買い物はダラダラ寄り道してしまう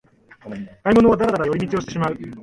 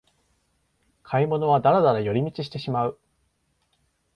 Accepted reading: second